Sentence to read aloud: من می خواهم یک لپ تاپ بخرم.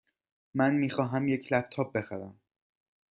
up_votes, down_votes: 2, 0